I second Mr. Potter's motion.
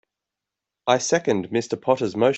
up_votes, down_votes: 0, 2